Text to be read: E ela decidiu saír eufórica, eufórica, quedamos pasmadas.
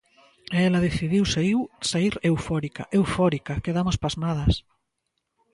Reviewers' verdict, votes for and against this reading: rejected, 0, 2